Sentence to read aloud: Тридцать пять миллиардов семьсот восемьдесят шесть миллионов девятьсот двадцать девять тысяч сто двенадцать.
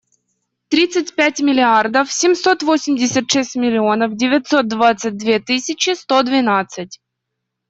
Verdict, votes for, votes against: rejected, 1, 2